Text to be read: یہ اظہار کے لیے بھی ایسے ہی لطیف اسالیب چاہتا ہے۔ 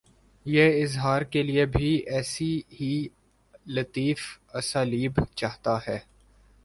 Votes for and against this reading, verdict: 2, 0, accepted